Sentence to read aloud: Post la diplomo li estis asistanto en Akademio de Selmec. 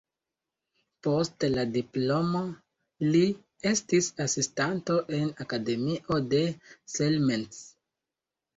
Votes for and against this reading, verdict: 2, 1, accepted